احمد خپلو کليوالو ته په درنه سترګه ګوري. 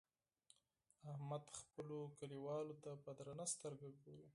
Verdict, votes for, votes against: rejected, 2, 4